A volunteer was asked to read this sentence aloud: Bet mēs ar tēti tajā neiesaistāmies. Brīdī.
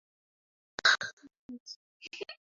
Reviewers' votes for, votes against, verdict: 0, 2, rejected